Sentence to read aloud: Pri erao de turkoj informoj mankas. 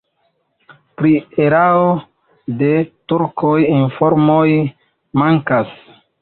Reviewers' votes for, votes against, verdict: 1, 2, rejected